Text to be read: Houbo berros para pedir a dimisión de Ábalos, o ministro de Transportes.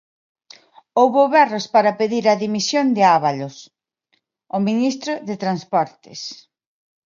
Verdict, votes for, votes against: accepted, 2, 0